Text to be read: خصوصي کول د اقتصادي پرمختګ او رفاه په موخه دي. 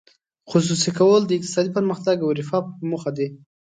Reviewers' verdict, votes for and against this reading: accepted, 2, 0